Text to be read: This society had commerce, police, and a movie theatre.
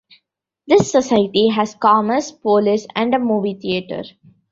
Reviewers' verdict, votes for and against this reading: rejected, 1, 2